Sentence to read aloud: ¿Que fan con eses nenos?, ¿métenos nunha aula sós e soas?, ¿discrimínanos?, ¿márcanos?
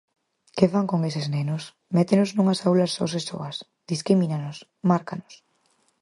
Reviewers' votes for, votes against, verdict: 0, 4, rejected